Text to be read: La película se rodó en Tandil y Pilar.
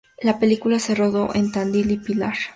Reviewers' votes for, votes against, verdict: 2, 0, accepted